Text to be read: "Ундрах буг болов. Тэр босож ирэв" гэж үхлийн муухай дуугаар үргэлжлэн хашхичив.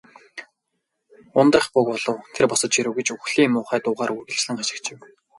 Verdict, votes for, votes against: accepted, 2, 0